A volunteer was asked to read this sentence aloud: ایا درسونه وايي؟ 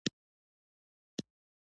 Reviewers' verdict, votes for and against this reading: rejected, 1, 2